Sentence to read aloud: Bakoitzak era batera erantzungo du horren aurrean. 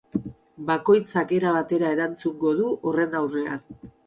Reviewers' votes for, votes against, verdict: 8, 0, accepted